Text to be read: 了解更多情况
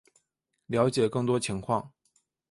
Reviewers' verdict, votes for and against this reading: accepted, 3, 2